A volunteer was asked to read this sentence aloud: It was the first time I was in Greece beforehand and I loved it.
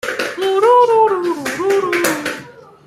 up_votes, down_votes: 0, 2